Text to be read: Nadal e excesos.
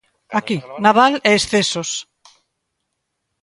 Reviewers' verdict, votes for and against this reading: rejected, 0, 2